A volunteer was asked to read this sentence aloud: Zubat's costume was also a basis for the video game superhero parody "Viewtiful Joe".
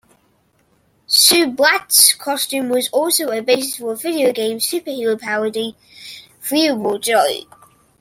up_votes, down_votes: 0, 2